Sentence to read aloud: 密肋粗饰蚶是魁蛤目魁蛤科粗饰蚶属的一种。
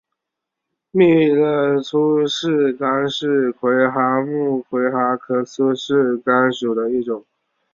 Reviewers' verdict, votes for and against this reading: rejected, 0, 3